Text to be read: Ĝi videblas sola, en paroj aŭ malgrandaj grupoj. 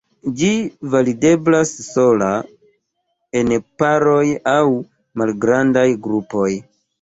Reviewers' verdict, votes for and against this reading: rejected, 1, 2